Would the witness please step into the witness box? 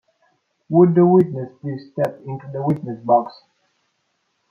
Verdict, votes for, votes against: rejected, 1, 2